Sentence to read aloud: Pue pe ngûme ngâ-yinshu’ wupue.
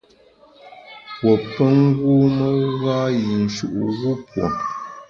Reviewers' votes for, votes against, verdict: 2, 0, accepted